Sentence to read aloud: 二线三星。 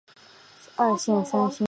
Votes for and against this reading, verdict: 2, 0, accepted